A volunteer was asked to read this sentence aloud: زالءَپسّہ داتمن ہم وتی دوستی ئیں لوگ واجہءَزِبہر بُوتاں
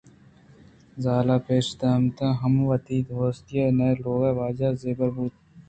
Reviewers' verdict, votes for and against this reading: accepted, 2, 0